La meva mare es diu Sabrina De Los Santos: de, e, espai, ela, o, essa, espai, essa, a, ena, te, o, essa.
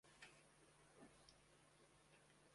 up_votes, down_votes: 0, 2